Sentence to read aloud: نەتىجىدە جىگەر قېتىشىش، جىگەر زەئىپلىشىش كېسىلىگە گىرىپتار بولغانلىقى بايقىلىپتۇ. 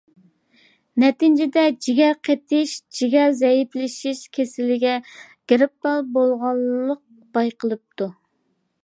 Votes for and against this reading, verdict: 0, 2, rejected